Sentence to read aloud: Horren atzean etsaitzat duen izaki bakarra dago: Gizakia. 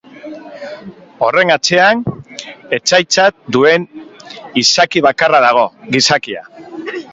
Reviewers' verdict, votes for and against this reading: accepted, 3, 1